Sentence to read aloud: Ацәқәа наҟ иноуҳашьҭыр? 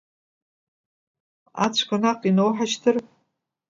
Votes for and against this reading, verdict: 3, 0, accepted